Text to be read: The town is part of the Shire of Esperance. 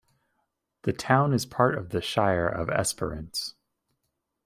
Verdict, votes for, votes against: accepted, 2, 0